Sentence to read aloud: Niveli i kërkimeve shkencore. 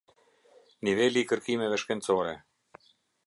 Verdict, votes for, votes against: accepted, 2, 0